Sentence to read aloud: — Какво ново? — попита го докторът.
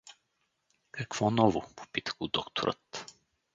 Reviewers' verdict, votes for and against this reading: rejected, 0, 2